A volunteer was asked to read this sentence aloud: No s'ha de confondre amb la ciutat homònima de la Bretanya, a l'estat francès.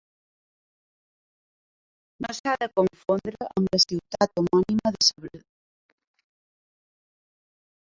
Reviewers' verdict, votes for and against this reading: rejected, 0, 2